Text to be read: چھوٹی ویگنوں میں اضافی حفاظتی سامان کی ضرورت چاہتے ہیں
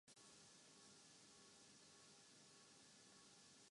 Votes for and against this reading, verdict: 0, 2, rejected